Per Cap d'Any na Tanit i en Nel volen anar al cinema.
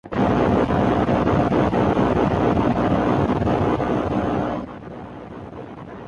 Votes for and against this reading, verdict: 0, 3, rejected